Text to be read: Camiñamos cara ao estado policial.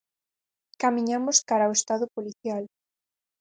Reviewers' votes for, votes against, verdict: 4, 0, accepted